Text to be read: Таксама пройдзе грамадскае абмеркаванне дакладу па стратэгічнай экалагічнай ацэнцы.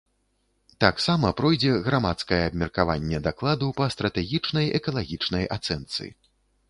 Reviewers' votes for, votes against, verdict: 2, 0, accepted